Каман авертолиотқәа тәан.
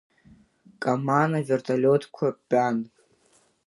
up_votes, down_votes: 2, 1